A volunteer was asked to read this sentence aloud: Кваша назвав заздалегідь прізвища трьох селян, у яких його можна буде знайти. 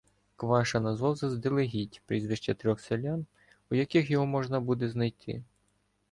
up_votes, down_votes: 2, 0